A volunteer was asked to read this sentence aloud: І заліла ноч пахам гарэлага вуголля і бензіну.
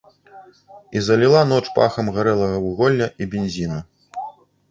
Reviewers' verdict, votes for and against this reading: rejected, 1, 2